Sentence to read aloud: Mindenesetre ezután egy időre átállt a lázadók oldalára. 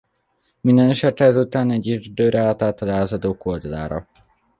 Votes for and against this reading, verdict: 1, 2, rejected